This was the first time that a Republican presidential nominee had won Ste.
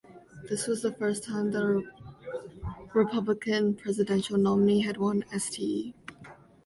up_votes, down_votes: 0, 2